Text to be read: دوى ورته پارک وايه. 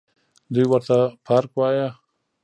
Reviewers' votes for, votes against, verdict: 1, 2, rejected